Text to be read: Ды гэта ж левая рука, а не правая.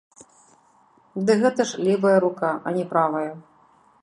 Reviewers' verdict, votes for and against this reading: rejected, 1, 2